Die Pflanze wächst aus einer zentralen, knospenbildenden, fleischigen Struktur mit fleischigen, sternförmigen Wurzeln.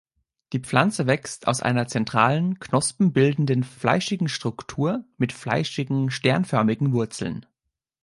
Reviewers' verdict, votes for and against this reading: accepted, 3, 0